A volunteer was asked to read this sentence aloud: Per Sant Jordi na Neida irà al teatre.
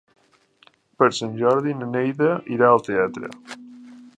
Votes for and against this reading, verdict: 3, 0, accepted